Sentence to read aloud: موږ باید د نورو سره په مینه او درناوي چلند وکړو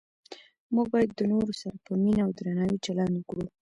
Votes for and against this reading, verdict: 2, 0, accepted